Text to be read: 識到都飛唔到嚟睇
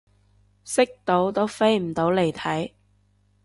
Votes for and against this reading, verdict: 2, 0, accepted